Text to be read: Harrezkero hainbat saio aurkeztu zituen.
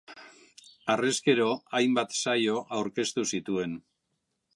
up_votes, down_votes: 2, 0